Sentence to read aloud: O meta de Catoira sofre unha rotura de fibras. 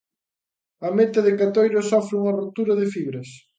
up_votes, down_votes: 0, 2